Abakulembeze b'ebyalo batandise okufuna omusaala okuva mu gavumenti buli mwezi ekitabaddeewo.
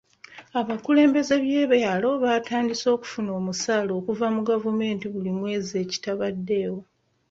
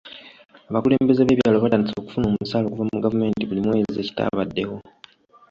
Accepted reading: second